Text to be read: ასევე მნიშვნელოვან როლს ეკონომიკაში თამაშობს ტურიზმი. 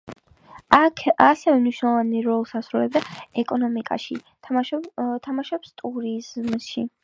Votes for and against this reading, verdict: 0, 2, rejected